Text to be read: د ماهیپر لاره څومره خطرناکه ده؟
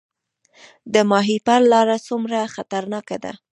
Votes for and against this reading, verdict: 1, 2, rejected